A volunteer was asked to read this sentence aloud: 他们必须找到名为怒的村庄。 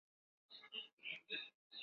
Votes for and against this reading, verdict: 1, 2, rejected